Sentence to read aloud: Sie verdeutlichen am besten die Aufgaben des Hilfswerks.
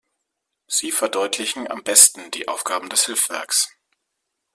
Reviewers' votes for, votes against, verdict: 1, 2, rejected